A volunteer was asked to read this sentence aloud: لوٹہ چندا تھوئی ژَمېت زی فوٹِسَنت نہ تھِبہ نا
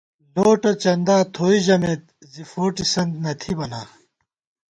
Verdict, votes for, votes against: accepted, 2, 0